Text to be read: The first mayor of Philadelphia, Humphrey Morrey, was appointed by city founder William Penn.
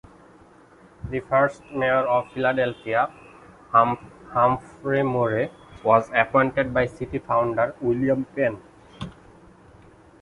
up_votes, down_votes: 2, 1